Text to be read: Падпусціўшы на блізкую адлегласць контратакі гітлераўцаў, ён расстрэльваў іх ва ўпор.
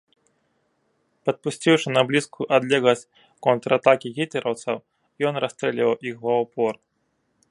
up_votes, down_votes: 2, 0